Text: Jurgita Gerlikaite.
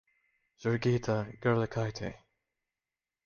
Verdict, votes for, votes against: rejected, 1, 2